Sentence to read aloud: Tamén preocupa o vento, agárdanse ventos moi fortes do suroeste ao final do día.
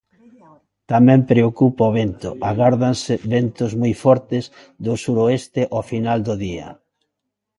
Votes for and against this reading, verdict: 1, 2, rejected